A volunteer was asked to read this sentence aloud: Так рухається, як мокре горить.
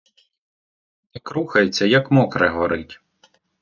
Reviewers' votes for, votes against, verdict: 2, 1, accepted